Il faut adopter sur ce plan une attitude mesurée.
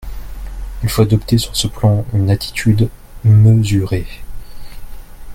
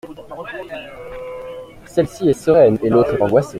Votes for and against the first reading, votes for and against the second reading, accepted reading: 2, 0, 0, 2, first